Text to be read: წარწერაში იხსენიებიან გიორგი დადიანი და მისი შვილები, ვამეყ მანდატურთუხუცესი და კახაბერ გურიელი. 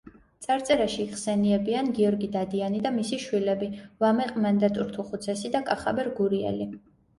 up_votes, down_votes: 2, 0